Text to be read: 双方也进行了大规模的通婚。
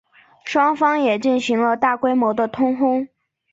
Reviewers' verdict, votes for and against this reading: accepted, 5, 0